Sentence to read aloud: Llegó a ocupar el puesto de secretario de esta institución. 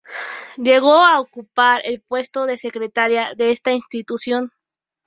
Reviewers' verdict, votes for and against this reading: rejected, 0, 2